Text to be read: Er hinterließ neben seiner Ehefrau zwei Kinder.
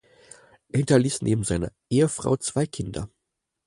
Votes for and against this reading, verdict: 4, 0, accepted